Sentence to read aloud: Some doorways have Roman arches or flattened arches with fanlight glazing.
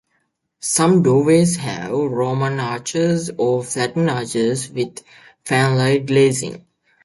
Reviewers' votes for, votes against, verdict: 1, 2, rejected